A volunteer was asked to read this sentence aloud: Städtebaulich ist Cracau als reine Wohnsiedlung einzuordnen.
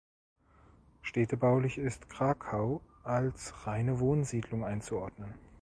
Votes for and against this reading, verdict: 2, 0, accepted